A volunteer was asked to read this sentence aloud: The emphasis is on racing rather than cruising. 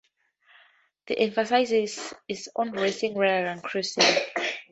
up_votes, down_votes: 0, 2